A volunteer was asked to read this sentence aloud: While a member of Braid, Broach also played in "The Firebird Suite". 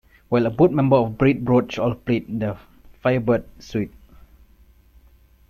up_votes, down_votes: 1, 2